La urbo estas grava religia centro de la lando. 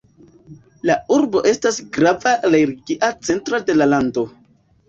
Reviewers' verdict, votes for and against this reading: accepted, 2, 1